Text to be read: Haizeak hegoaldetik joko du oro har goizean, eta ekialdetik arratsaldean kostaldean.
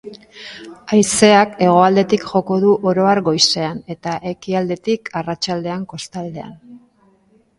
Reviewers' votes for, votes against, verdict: 2, 1, accepted